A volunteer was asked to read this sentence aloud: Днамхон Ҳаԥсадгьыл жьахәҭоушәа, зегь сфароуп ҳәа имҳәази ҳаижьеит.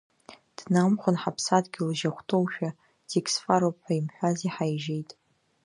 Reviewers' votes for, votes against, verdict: 1, 2, rejected